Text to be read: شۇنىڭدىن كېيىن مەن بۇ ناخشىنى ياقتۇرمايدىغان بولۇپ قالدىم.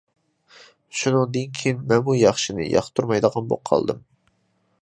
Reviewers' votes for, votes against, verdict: 1, 2, rejected